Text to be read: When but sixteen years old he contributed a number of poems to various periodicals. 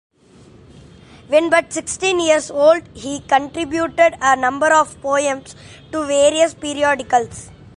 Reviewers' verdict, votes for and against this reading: accepted, 2, 1